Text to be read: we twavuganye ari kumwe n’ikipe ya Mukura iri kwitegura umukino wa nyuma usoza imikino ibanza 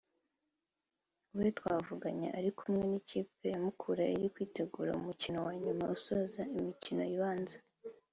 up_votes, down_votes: 2, 1